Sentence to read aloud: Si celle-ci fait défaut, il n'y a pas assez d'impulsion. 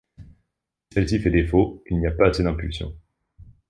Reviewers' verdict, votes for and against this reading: rejected, 0, 2